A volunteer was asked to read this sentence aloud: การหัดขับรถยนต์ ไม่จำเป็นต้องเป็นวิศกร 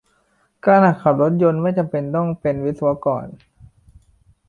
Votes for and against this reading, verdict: 2, 1, accepted